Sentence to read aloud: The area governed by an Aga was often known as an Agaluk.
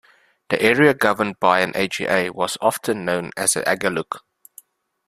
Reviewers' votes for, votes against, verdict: 1, 2, rejected